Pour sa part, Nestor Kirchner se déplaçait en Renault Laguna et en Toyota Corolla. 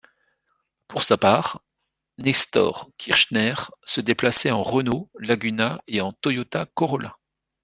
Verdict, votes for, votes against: accepted, 2, 0